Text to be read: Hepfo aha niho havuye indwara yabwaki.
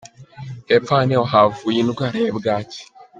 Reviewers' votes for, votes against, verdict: 2, 1, accepted